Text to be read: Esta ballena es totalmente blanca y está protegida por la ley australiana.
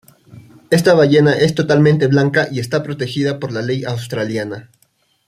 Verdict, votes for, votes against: accepted, 2, 0